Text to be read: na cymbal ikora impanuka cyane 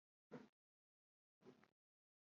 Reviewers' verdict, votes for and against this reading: rejected, 1, 2